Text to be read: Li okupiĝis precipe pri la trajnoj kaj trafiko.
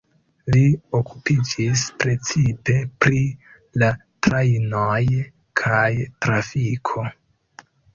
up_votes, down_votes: 0, 2